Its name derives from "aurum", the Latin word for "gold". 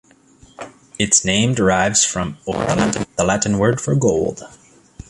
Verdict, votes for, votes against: rejected, 0, 2